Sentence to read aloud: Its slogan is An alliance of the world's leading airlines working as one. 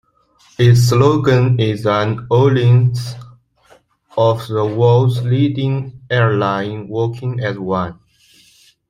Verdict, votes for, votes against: rejected, 0, 2